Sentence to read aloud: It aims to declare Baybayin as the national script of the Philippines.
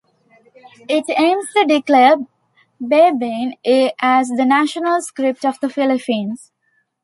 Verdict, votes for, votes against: rejected, 0, 2